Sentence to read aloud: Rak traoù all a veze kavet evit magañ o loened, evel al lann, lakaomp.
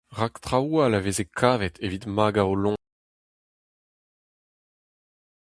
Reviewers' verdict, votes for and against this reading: rejected, 0, 4